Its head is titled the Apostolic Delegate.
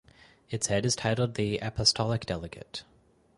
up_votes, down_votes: 6, 2